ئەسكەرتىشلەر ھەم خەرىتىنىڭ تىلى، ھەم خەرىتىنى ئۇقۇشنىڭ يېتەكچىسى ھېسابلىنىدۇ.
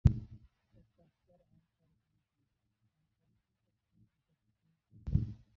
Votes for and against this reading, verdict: 0, 2, rejected